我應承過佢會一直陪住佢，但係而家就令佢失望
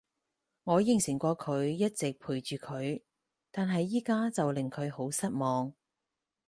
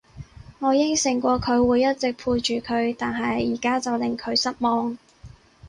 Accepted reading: second